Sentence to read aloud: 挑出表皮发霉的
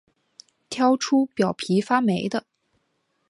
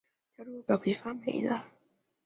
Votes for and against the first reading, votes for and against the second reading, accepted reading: 4, 0, 1, 4, first